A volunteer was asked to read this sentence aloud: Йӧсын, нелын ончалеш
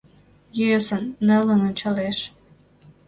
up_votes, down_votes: 2, 0